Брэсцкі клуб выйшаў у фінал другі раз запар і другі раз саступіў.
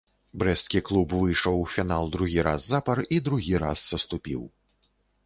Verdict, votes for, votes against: accepted, 3, 0